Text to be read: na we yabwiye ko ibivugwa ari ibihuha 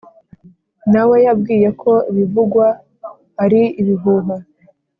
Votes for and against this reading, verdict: 2, 0, accepted